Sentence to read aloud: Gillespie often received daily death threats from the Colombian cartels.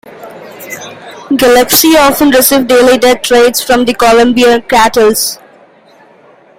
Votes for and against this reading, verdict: 2, 0, accepted